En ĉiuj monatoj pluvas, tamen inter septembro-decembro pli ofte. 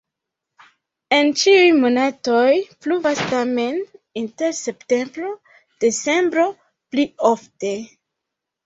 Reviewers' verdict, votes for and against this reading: rejected, 0, 2